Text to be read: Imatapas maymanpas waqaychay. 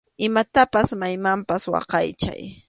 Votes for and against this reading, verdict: 2, 0, accepted